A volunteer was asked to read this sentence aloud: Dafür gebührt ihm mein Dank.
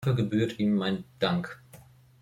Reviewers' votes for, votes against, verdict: 0, 2, rejected